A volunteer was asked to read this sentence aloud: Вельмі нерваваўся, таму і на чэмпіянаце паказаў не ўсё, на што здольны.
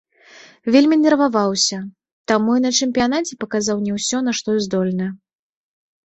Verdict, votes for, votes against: accepted, 2, 0